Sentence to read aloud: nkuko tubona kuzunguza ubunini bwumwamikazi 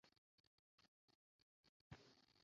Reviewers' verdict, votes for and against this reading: rejected, 0, 2